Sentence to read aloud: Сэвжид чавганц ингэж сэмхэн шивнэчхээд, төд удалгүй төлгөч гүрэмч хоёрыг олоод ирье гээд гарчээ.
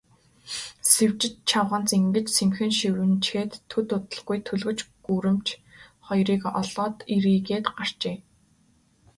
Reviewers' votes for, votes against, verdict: 1, 2, rejected